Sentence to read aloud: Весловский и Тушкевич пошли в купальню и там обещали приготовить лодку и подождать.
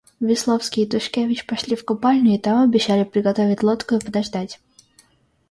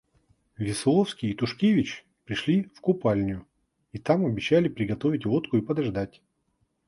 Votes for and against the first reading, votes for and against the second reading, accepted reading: 2, 0, 1, 2, first